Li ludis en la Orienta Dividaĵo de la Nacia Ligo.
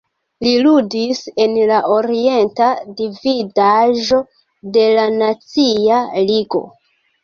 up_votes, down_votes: 0, 2